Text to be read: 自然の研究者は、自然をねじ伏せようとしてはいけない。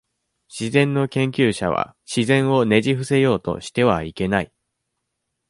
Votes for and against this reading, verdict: 2, 0, accepted